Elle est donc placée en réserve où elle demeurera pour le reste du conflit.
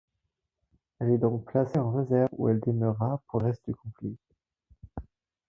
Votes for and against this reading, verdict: 0, 4, rejected